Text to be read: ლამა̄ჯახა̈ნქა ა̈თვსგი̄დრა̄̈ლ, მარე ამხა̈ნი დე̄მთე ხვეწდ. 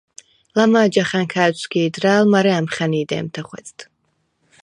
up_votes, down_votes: 4, 0